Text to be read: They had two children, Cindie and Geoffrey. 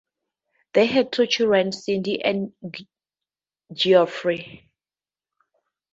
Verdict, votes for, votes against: accepted, 2, 0